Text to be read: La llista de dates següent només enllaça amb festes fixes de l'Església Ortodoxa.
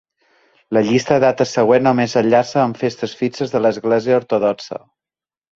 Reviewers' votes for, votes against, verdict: 3, 6, rejected